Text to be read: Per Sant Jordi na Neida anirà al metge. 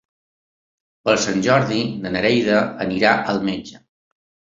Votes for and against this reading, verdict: 1, 2, rejected